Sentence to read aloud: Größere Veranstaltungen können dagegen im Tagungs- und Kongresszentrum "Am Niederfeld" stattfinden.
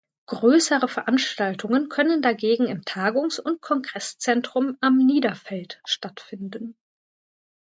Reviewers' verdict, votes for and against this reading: accepted, 2, 0